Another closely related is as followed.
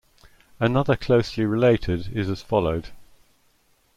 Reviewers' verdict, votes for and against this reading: accepted, 2, 0